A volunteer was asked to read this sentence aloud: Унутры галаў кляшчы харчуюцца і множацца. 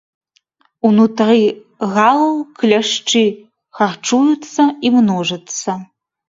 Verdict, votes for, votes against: accepted, 2, 0